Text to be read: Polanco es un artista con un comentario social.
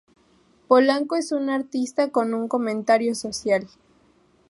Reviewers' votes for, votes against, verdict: 4, 0, accepted